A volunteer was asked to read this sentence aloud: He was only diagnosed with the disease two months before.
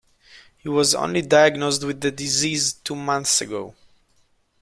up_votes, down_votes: 0, 2